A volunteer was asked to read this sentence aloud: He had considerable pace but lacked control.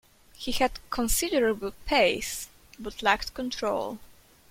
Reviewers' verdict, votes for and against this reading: accepted, 2, 0